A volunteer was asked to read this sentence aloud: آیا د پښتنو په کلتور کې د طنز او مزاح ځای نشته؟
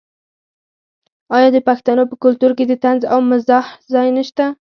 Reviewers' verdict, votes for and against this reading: rejected, 0, 4